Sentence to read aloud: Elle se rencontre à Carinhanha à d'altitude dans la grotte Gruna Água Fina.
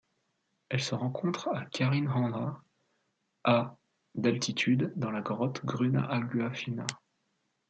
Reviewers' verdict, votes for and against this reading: rejected, 1, 2